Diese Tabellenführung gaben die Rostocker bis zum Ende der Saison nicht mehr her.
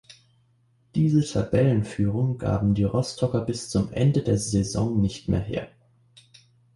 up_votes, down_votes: 2, 0